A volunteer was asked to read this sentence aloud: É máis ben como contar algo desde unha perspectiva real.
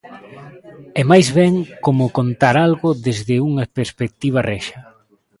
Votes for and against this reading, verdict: 1, 2, rejected